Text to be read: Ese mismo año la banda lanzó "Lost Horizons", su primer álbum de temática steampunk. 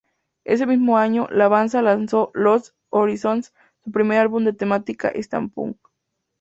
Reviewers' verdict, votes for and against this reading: rejected, 2, 2